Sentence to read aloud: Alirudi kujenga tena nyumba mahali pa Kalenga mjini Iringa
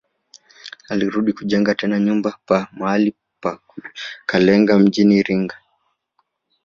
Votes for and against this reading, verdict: 1, 2, rejected